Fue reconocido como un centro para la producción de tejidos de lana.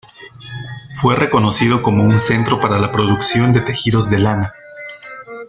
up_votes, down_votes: 2, 0